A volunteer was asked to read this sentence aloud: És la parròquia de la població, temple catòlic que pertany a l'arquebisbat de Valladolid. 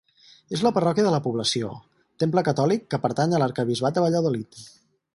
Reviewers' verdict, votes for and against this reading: accepted, 4, 0